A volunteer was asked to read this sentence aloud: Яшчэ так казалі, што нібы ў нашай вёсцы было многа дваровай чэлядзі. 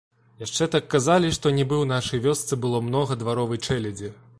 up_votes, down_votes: 2, 0